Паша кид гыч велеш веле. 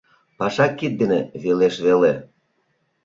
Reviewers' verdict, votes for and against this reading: rejected, 0, 2